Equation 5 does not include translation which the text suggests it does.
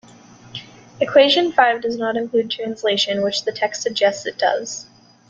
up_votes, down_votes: 0, 2